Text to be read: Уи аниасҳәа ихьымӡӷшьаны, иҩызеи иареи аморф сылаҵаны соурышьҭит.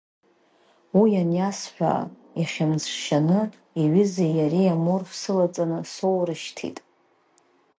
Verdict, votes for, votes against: rejected, 1, 2